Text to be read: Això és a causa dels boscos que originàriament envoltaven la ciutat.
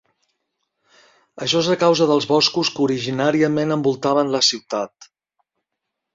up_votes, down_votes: 4, 0